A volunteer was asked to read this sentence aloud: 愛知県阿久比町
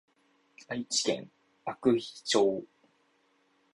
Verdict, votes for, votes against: rejected, 1, 2